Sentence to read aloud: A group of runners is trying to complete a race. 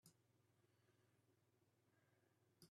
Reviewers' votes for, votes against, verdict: 0, 2, rejected